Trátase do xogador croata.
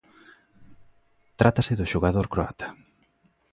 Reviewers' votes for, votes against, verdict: 2, 0, accepted